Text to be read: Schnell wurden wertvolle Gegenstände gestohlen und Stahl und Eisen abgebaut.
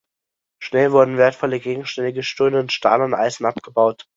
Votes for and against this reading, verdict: 1, 2, rejected